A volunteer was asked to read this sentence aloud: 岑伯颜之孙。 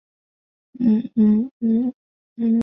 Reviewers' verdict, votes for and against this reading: rejected, 0, 5